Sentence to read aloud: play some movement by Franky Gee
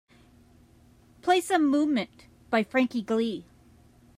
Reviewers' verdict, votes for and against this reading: rejected, 0, 2